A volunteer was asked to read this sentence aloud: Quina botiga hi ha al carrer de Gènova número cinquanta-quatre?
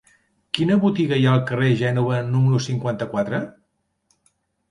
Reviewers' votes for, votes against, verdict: 1, 2, rejected